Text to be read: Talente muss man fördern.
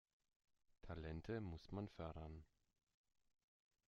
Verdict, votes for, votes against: accepted, 2, 1